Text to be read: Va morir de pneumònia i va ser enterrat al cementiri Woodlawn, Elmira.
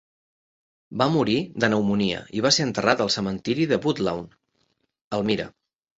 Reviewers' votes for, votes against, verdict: 0, 2, rejected